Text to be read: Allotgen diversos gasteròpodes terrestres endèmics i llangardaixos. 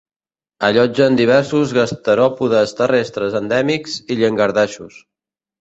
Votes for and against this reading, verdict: 3, 0, accepted